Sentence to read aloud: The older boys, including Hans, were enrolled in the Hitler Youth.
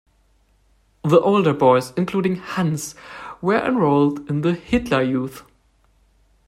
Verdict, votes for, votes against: accepted, 2, 0